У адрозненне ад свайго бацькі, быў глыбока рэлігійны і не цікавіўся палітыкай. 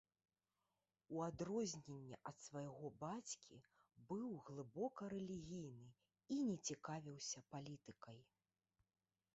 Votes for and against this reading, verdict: 0, 2, rejected